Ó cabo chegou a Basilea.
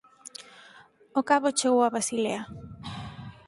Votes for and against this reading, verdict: 4, 0, accepted